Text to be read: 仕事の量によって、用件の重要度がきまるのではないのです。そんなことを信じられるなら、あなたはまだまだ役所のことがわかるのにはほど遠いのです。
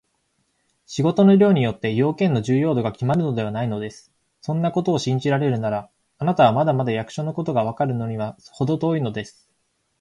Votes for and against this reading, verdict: 7, 1, accepted